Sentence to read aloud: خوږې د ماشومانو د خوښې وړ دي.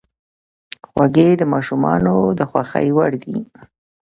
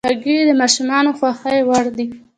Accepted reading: second